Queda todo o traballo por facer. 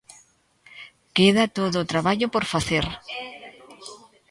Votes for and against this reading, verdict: 1, 2, rejected